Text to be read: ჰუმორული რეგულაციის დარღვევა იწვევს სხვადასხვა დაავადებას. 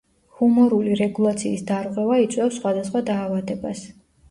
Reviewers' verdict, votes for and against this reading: accepted, 2, 0